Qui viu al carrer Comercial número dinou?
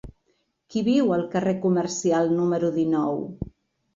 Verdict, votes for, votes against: accepted, 3, 0